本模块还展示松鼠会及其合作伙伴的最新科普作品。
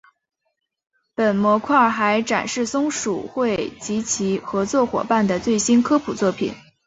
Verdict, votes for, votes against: accepted, 3, 1